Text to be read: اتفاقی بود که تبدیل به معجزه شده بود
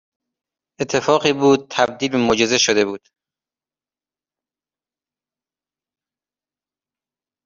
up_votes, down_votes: 1, 2